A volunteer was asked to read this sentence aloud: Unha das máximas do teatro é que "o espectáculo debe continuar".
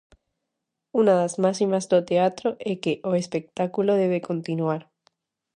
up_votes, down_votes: 0, 2